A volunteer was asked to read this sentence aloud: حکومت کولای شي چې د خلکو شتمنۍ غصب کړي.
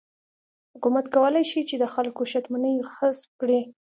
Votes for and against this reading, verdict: 2, 1, accepted